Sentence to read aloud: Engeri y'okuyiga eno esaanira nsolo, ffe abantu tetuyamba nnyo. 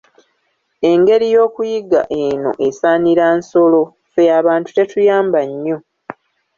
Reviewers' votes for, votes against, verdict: 0, 2, rejected